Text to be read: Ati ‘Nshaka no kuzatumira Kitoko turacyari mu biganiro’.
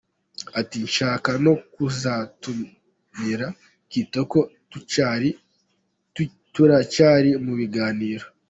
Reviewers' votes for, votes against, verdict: 1, 2, rejected